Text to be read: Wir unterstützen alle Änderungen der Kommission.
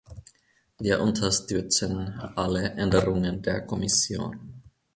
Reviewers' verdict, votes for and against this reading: accepted, 2, 0